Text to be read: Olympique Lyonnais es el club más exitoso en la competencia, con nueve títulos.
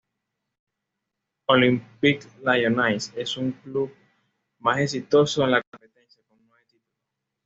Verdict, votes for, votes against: rejected, 1, 2